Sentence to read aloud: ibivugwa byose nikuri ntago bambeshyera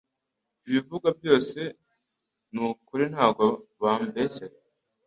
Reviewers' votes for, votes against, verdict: 2, 0, accepted